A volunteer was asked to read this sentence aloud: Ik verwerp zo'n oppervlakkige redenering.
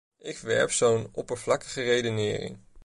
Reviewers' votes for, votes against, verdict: 0, 2, rejected